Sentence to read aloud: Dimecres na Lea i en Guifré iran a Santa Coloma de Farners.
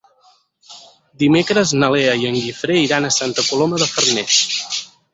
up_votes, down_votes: 2, 4